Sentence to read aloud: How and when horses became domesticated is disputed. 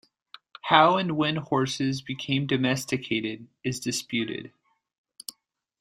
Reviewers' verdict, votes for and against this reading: accepted, 2, 0